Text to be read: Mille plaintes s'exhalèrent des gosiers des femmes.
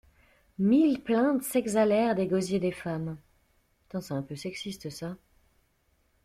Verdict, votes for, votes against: rejected, 0, 2